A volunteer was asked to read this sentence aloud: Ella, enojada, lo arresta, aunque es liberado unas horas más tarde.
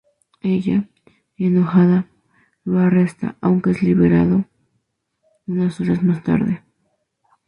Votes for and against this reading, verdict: 2, 2, rejected